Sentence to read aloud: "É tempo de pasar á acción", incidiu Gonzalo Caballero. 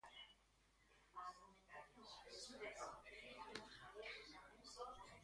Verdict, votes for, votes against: rejected, 0, 2